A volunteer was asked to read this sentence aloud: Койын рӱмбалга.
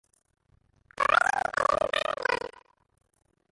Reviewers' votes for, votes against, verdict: 0, 2, rejected